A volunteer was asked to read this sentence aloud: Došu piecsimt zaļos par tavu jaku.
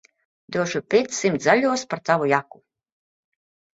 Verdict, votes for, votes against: accepted, 2, 0